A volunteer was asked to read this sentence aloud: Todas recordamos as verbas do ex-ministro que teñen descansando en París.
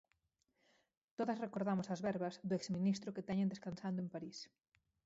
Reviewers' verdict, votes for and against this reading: rejected, 2, 4